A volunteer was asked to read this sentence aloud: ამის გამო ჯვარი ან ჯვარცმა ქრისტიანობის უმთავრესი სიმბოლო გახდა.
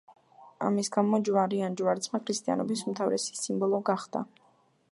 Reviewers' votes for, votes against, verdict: 2, 0, accepted